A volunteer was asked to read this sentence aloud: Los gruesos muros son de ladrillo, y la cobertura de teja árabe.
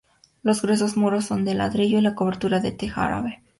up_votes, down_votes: 4, 0